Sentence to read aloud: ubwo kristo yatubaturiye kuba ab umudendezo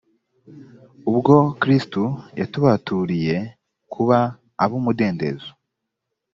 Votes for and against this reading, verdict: 2, 0, accepted